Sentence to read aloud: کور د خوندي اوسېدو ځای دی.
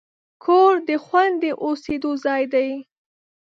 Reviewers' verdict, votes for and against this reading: rejected, 0, 2